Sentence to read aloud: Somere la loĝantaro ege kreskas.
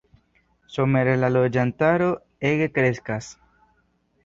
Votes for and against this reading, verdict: 2, 0, accepted